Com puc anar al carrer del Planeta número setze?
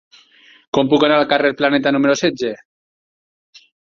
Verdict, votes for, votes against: rejected, 2, 4